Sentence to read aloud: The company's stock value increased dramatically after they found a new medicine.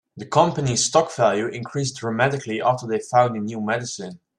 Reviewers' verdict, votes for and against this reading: accepted, 3, 0